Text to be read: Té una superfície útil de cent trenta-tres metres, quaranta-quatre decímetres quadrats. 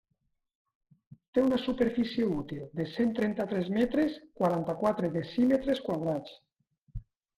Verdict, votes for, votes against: accepted, 3, 1